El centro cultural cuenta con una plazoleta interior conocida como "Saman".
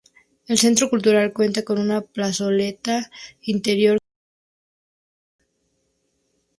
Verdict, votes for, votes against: rejected, 2, 4